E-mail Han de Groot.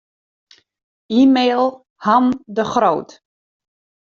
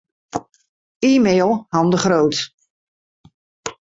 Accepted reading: second